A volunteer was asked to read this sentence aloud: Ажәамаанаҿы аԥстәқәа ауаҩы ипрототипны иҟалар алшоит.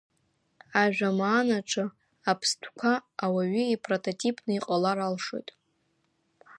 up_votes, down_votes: 2, 0